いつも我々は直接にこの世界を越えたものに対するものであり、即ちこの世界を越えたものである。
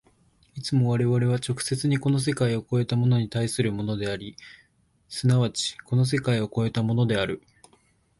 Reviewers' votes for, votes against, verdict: 2, 0, accepted